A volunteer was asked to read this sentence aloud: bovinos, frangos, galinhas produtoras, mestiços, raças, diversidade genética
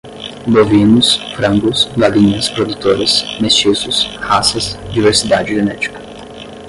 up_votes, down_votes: 0, 5